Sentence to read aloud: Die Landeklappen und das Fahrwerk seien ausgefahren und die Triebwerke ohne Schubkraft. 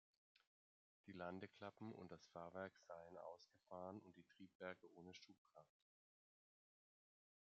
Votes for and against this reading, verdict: 1, 2, rejected